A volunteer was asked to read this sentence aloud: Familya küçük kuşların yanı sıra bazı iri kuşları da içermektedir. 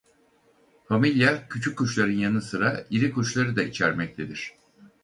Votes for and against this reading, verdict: 0, 4, rejected